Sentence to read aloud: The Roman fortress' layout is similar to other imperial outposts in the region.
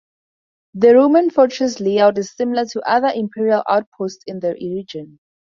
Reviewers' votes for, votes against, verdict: 2, 4, rejected